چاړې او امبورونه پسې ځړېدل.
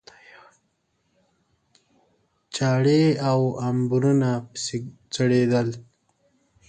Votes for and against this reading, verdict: 2, 1, accepted